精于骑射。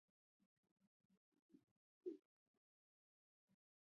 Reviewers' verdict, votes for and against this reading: rejected, 0, 5